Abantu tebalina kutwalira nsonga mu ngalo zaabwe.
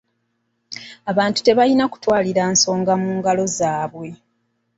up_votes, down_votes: 1, 2